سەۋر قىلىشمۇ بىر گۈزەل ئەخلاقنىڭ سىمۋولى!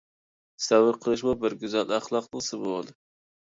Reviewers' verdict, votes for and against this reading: accepted, 2, 0